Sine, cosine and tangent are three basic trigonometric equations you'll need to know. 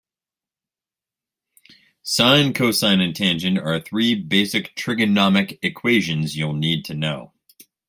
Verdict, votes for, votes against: rejected, 0, 2